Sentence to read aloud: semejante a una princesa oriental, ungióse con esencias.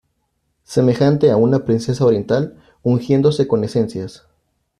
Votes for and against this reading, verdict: 1, 2, rejected